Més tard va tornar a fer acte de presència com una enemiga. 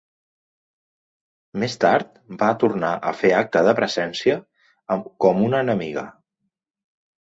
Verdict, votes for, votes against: rejected, 0, 2